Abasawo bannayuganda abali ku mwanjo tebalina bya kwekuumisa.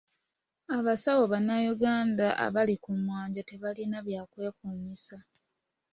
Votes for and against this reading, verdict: 2, 0, accepted